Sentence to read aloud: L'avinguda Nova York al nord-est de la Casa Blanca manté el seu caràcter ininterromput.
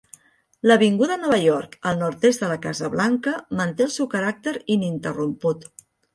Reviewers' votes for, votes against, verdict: 2, 0, accepted